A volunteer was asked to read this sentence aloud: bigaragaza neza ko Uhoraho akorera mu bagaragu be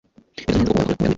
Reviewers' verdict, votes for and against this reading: rejected, 1, 2